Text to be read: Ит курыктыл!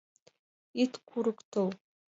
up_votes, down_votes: 2, 1